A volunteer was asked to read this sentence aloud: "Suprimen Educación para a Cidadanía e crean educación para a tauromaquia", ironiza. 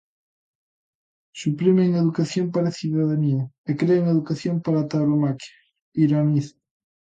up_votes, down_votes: 3, 0